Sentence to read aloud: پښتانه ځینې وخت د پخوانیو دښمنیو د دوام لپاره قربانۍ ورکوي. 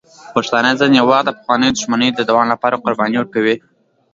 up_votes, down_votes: 1, 2